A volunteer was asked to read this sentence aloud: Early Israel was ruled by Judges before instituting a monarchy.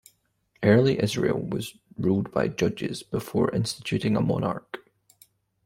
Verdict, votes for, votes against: rejected, 1, 2